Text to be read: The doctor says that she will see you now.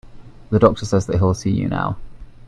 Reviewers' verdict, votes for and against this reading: rejected, 0, 2